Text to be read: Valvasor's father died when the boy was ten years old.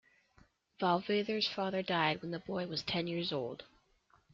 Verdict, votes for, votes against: accepted, 2, 0